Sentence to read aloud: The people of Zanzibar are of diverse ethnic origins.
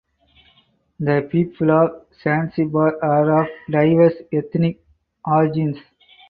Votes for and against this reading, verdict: 0, 2, rejected